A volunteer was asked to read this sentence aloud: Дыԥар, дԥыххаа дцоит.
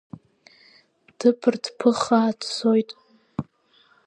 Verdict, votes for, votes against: accepted, 3, 0